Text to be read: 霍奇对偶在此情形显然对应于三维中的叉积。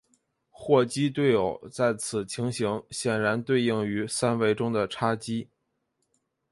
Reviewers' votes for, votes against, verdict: 2, 1, accepted